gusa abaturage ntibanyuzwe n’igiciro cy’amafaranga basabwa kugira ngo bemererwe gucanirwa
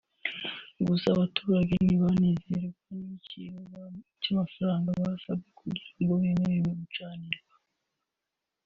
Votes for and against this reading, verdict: 2, 0, accepted